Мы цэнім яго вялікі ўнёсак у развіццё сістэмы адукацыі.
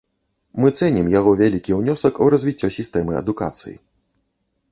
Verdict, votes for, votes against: accepted, 2, 0